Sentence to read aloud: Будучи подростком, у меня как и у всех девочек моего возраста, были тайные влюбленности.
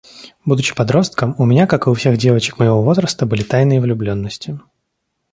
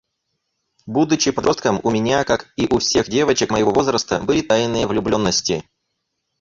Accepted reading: first